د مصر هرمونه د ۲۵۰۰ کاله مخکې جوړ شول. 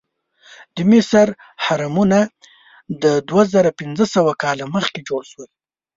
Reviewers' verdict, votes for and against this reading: rejected, 0, 2